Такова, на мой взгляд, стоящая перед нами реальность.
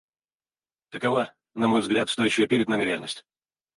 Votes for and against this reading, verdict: 0, 4, rejected